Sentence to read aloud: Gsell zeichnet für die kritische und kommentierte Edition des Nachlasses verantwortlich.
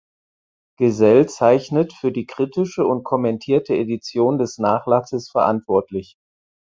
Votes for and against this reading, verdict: 4, 2, accepted